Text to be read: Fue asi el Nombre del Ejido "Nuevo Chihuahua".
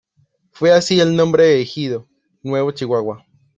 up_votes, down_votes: 0, 2